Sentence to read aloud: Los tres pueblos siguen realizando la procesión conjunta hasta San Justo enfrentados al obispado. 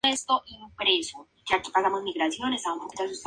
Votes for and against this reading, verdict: 0, 2, rejected